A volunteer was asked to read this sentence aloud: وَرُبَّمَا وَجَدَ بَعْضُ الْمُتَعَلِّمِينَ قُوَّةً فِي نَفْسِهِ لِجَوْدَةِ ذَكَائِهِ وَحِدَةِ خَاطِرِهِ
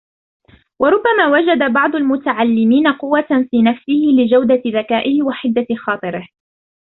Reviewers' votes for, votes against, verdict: 1, 2, rejected